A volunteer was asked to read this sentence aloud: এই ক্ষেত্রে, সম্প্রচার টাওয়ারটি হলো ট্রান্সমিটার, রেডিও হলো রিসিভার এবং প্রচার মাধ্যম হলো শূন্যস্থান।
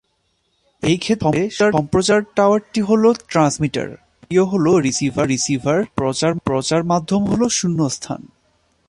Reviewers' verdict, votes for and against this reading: rejected, 0, 9